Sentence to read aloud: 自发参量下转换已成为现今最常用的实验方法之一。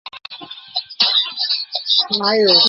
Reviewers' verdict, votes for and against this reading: rejected, 0, 2